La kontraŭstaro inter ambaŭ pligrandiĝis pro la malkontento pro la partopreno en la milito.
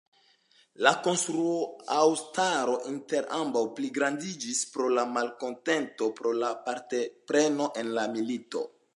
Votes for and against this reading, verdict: 0, 2, rejected